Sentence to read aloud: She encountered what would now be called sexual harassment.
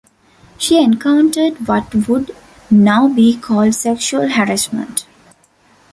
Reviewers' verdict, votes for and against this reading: accepted, 2, 1